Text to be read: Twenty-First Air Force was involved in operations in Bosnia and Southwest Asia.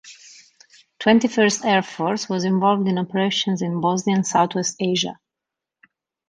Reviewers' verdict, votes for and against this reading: accepted, 2, 0